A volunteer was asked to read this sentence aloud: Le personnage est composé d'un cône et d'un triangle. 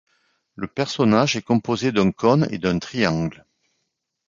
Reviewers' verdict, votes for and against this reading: rejected, 1, 2